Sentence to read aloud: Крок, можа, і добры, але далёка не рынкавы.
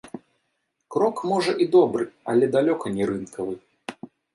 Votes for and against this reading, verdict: 0, 2, rejected